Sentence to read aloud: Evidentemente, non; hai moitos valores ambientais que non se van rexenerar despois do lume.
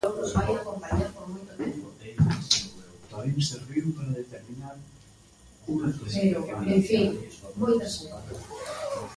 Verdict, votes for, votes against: rejected, 0, 2